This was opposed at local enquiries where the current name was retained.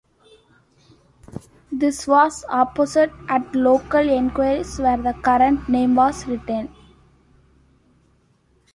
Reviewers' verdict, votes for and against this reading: rejected, 0, 2